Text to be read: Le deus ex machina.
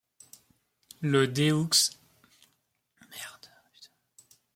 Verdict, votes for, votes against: rejected, 0, 2